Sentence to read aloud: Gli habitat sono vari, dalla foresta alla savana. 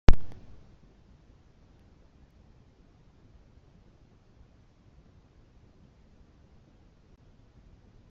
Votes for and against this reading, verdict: 0, 2, rejected